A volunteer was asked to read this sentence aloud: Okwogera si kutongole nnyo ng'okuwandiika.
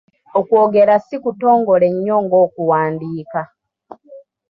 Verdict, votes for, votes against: accepted, 2, 0